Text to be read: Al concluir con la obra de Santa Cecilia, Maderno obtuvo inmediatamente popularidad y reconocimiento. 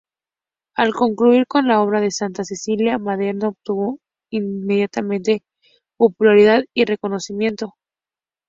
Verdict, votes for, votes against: accepted, 4, 0